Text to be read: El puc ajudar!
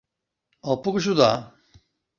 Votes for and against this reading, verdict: 0, 2, rejected